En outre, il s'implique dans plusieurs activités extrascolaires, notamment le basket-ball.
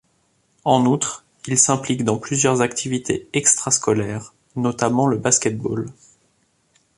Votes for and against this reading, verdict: 2, 0, accepted